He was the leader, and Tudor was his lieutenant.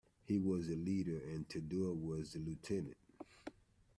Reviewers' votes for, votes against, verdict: 1, 2, rejected